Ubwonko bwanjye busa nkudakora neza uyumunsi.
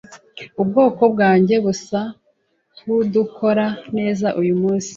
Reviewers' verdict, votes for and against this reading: rejected, 0, 2